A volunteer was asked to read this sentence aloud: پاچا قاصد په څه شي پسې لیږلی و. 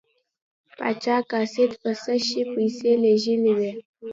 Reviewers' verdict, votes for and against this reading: accepted, 2, 0